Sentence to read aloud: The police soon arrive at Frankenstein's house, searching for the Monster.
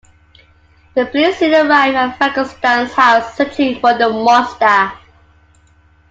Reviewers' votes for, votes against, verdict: 2, 1, accepted